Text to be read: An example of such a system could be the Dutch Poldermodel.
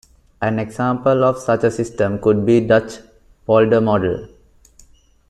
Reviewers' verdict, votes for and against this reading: rejected, 1, 2